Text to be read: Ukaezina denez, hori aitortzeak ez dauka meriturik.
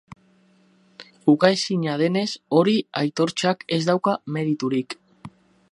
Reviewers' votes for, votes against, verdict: 0, 4, rejected